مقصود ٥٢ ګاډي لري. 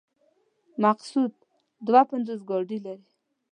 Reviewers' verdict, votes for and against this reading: rejected, 0, 2